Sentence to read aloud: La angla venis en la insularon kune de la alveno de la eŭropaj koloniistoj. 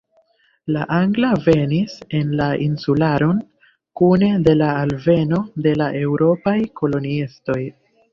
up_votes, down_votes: 1, 2